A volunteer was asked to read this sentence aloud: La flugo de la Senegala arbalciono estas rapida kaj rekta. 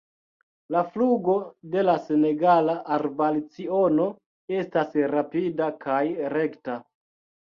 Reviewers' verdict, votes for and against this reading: accepted, 2, 1